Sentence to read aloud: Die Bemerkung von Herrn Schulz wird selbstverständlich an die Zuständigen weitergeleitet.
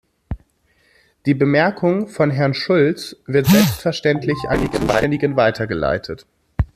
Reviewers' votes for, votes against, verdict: 0, 2, rejected